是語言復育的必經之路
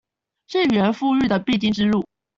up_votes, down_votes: 1, 2